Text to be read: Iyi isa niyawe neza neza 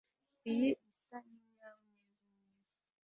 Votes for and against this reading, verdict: 1, 2, rejected